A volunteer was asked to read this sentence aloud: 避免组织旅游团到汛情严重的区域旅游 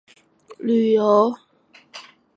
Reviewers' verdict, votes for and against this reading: rejected, 1, 2